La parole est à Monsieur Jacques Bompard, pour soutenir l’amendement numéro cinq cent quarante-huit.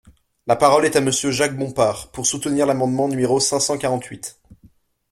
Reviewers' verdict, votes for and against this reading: accepted, 2, 1